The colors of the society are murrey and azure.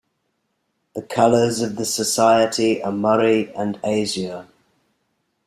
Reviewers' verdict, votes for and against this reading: accepted, 3, 0